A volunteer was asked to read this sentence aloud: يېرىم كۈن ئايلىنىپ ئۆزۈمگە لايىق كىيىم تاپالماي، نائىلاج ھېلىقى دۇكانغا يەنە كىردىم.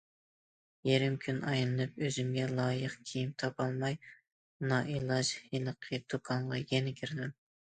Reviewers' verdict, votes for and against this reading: accepted, 2, 0